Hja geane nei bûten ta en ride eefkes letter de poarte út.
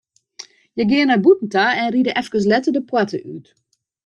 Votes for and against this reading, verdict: 2, 1, accepted